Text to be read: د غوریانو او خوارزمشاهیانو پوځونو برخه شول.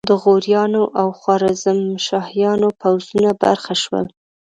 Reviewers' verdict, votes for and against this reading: accepted, 2, 1